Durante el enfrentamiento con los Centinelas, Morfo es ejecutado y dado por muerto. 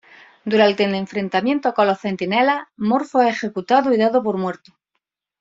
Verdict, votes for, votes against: rejected, 1, 2